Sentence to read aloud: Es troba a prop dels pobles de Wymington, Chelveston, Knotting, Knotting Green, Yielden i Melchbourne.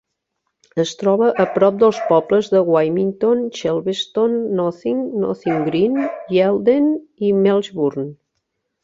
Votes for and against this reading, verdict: 0, 2, rejected